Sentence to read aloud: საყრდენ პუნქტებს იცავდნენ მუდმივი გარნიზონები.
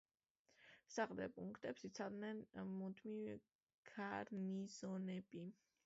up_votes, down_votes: 2, 0